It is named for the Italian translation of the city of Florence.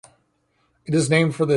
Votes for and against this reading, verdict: 0, 2, rejected